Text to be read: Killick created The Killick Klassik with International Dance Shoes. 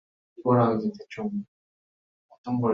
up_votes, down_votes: 0, 2